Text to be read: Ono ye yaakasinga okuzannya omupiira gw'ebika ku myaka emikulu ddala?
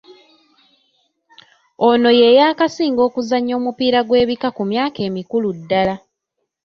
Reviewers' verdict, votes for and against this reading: rejected, 0, 2